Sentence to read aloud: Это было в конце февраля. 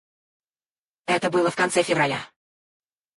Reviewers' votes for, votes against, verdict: 2, 4, rejected